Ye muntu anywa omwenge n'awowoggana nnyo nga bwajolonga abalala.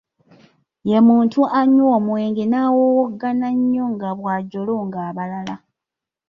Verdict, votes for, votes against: rejected, 0, 2